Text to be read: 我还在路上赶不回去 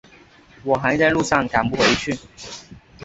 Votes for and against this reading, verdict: 5, 0, accepted